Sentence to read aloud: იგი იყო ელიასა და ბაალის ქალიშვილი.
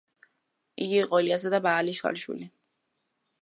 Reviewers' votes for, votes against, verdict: 1, 2, rejected